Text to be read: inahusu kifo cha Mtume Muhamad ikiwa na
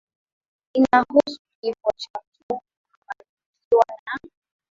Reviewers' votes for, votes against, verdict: 0, 2, rejected